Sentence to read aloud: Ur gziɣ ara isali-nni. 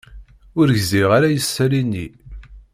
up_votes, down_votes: 2, 0